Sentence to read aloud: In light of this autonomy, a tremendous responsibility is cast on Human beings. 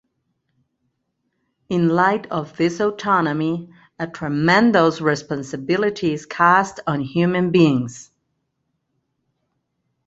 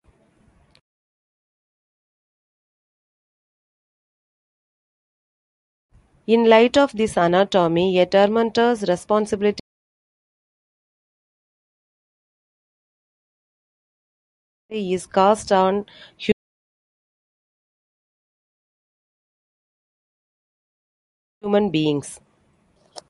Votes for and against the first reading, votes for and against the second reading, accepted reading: 2, 0, 1, 2, first